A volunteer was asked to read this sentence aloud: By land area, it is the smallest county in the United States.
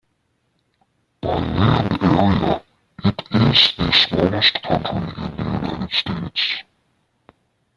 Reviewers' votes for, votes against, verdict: 0, 2, rejected